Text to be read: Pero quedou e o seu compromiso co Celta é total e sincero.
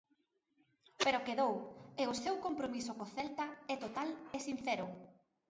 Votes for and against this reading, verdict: 1, 2, rejected